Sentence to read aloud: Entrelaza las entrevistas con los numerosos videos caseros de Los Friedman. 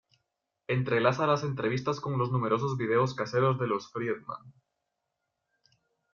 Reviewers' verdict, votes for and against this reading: accepted, 2, 1